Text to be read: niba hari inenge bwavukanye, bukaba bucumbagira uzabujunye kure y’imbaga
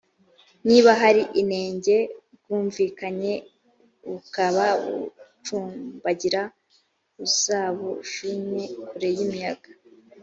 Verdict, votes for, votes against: rejected, 0, 2